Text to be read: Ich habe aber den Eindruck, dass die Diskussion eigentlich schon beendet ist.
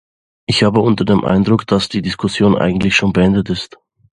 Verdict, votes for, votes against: rejected, 0, 2